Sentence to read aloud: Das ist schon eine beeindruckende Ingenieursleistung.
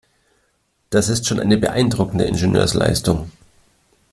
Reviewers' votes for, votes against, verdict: 2, 0, accepted